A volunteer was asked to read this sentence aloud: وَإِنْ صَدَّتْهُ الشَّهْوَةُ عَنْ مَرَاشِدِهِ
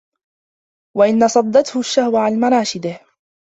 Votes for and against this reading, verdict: 1, 2, rejected